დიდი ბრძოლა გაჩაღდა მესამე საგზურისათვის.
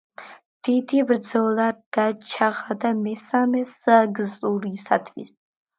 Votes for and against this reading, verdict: 1, 2, rejected